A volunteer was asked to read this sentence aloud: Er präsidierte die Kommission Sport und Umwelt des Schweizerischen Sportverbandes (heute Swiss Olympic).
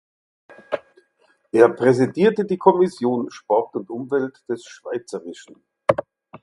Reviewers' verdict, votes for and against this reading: rejected, 0, 4